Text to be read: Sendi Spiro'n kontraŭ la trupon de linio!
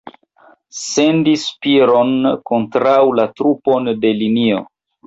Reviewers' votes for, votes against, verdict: 1, 2, rejected